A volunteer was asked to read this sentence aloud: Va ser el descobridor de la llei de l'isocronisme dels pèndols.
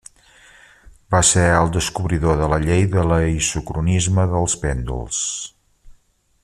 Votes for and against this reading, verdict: 1, 2, rejected